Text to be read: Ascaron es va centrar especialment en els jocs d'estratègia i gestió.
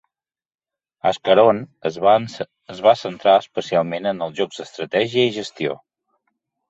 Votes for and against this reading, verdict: 1, 2, rejected